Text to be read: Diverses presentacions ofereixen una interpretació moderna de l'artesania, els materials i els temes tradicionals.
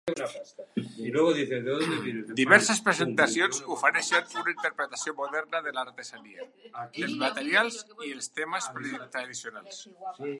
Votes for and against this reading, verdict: 0, 2, rejected